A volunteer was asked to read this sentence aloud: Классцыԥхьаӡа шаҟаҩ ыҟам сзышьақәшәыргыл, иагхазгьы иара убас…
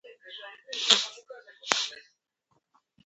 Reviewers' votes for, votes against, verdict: 1, 3, rejected